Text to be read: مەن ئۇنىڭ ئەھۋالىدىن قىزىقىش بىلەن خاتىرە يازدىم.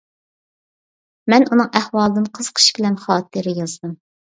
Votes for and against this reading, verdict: 2, 0, accepted